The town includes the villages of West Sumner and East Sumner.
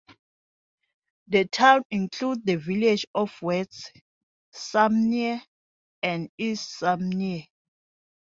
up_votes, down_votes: 0, 2